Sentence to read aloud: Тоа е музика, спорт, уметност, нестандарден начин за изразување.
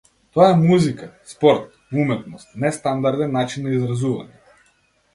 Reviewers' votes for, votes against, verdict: 0, 2, rejected